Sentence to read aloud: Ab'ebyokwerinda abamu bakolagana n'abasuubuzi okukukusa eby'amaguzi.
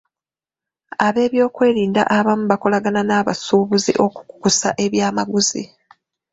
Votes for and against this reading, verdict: 0, 2, rejected